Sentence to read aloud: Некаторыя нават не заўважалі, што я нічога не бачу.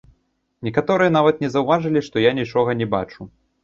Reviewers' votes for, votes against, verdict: 1, 2, rejected